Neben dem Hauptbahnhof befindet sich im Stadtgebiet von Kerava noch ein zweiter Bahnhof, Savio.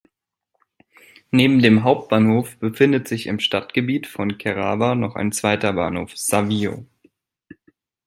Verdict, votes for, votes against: accepted, 2, 0